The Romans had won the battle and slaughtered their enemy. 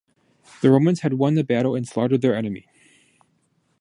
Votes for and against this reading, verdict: 2, 0, accepted